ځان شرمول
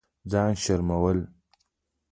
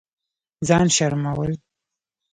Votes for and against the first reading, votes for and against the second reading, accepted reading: 2, 0, 1, 2, first